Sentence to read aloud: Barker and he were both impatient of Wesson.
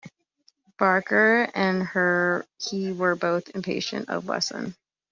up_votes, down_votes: 0, 2